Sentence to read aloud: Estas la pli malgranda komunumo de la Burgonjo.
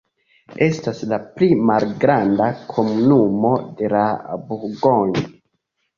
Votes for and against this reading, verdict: 2, 0, accepted